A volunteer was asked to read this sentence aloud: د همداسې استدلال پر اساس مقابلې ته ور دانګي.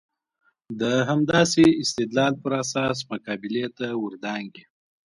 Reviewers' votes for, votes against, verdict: 2, 1, accepted